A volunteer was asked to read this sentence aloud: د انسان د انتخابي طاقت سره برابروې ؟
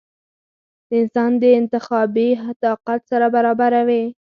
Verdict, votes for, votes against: rejected, 0, 4